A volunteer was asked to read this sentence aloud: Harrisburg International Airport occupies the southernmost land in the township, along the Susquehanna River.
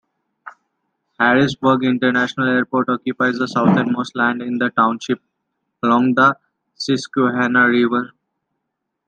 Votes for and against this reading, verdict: 2, 0, accepted